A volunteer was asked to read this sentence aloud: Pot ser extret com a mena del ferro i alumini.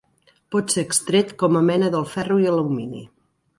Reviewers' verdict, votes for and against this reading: accepted, 2, 0